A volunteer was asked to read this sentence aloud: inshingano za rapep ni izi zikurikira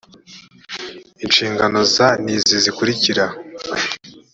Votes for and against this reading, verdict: 0, 2, rejected